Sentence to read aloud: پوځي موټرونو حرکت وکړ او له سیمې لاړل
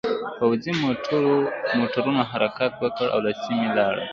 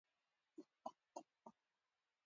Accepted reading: first